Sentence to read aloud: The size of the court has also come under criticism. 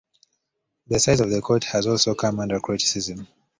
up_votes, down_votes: 2, 0